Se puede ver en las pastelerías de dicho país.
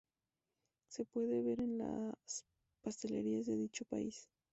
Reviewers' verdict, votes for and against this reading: accepted, 2, 0